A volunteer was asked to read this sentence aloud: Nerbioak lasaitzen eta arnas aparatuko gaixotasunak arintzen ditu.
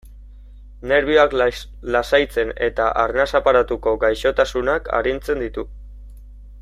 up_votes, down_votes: 1, 2